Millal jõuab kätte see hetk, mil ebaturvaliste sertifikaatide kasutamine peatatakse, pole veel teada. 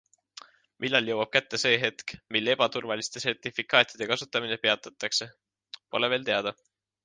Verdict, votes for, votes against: accepted, 2, 1